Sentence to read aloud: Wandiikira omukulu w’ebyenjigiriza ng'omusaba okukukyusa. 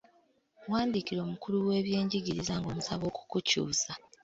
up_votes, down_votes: 2, 0